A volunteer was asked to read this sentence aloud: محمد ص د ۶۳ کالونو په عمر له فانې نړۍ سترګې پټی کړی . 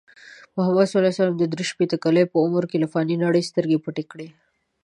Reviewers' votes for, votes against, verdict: 0, 2, rejected